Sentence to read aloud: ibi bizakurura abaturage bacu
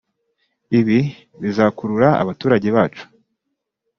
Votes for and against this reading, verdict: 0, 2, rejected